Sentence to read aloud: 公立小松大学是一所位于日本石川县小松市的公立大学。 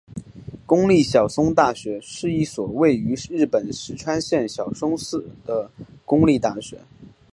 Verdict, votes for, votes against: accepted, 4, 1